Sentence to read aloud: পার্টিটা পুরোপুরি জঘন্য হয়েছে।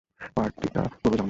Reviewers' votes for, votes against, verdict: 0, 2, rejected